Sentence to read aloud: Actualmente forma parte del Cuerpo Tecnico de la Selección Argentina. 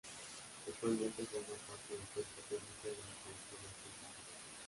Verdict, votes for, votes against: rejected, 1, 2